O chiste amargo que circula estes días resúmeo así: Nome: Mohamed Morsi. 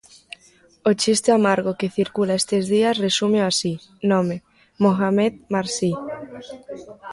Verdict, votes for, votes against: rejected, 1, 2